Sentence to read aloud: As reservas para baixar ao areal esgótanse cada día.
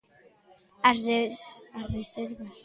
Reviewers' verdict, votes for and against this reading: rejected, 0, 2